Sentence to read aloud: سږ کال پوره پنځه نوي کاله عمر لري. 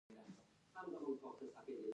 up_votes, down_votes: 0, 2